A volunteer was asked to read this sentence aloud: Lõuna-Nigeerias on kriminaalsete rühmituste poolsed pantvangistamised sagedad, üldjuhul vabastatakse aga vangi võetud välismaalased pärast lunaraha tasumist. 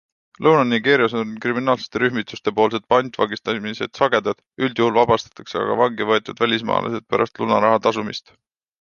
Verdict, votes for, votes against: accepted, 2, 0